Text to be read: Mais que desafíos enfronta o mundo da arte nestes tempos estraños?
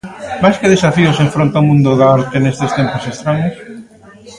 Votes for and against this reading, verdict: 0, 2, rejected